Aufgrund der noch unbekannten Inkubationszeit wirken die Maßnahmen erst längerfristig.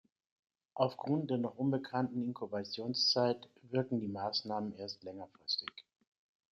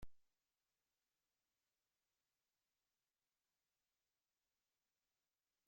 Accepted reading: first